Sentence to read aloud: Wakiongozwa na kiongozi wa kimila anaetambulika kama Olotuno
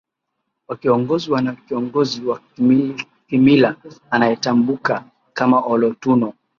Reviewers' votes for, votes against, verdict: 0, 2, rejected